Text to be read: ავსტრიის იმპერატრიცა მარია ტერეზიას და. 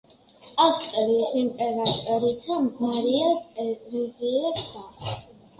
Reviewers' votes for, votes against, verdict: 2, 0, accepted